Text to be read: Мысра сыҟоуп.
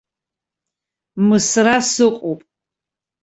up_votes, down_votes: 2, 0